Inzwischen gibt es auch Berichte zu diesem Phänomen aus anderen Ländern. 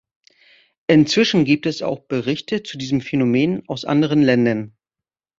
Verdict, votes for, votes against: accepted, 2, 0